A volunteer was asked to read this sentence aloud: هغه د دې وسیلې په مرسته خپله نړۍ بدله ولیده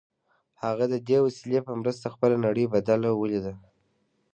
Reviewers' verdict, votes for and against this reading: rejected, 1, 2